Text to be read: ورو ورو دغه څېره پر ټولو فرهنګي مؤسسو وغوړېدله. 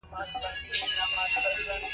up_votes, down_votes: 0, 2